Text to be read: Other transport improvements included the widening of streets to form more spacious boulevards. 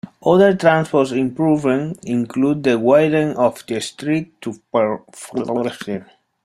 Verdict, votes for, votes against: rejected, 0, 2